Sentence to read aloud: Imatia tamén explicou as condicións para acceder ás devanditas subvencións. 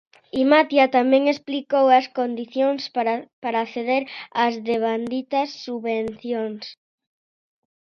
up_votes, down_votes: 0, 2